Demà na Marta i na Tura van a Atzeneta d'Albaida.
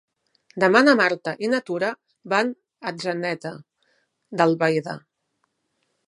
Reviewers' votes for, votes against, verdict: 3, 0, accepted